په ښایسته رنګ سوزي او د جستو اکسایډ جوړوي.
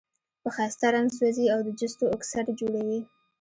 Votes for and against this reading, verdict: 2, 0, accepted